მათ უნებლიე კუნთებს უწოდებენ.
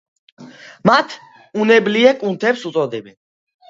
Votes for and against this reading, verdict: 2, 0, accepted